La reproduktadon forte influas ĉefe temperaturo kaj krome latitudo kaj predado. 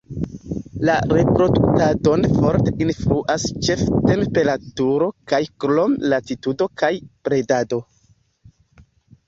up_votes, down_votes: 1, 2